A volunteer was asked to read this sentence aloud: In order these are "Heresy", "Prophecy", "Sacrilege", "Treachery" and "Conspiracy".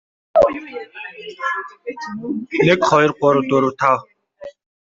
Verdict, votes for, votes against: rejected, 0, 2